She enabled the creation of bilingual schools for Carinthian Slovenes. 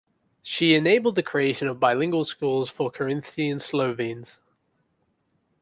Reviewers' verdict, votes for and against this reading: accepted, 2, 0